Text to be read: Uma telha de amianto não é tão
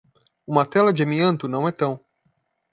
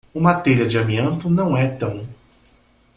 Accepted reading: second